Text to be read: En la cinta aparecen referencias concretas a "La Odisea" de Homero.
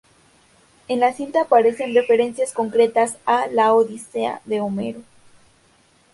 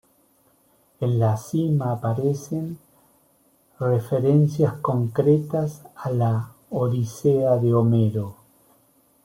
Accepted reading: first